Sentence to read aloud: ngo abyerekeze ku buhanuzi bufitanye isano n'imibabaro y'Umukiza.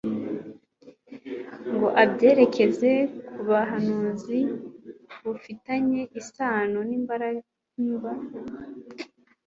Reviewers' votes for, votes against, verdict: 2, 1, accepted